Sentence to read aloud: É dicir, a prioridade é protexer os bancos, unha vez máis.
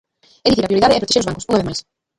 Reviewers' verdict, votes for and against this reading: rejected, 0, 2